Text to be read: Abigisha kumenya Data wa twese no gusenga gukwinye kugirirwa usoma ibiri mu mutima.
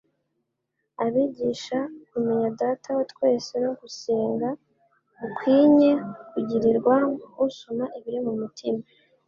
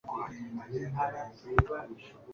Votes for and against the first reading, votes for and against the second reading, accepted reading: 2, 0, 1, 2, first